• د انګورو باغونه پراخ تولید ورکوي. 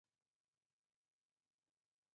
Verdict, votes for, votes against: rejected, 2, 4